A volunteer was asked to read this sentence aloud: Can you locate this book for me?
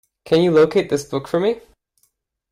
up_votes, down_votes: 2, 0